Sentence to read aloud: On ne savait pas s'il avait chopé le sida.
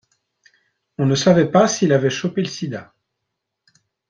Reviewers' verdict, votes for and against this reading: accepted, 2, 0